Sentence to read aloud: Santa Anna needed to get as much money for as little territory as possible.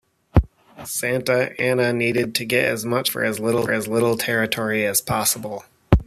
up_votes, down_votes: 0, 2